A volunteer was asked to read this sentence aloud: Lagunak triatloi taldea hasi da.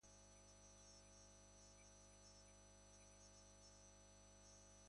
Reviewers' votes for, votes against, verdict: 0, 2, rejected